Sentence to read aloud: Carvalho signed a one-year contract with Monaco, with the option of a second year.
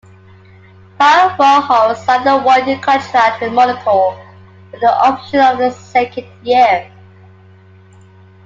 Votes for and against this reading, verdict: 1, 2, rejected